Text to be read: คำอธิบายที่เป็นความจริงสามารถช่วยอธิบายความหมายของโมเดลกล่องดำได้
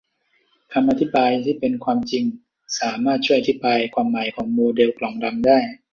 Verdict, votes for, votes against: accepted, 2, 0